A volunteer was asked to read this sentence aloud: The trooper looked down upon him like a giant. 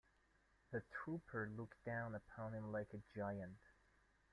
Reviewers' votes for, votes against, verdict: 2, 1, accepted